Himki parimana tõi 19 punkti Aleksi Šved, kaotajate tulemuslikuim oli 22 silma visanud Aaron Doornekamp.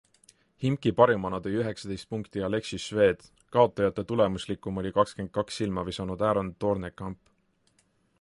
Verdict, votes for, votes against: rejected, 0, 2